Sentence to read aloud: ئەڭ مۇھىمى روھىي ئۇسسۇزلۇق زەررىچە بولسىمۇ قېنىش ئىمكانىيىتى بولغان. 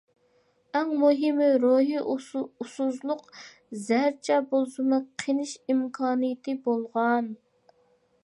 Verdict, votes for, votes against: rejected, 0, 2